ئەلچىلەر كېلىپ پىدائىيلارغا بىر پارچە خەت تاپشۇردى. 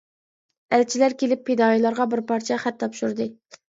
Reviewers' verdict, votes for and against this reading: accepted, 2, 0